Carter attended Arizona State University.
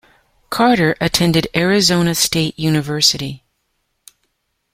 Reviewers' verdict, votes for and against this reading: accepted, 2, 0